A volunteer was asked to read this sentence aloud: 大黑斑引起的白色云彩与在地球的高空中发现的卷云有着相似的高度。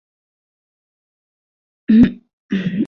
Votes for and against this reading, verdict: 0, 2, rejected